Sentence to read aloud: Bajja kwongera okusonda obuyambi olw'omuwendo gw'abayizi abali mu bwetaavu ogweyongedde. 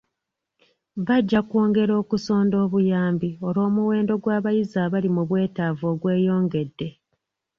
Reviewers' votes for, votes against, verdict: 2, 0, accepted